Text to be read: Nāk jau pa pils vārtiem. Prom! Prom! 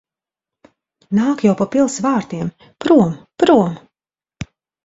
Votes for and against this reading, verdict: 3, 0, accepted